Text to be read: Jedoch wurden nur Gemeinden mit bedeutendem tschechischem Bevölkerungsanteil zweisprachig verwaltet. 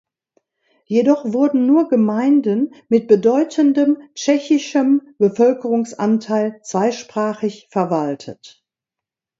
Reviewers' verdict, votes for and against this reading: accepted, 2, 0